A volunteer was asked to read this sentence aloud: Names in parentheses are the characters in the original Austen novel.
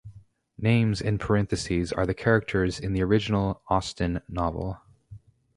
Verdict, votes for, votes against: accepted, 2, 0